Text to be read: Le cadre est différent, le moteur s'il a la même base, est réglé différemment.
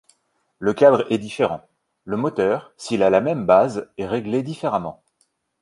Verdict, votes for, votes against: accepted, 2, 0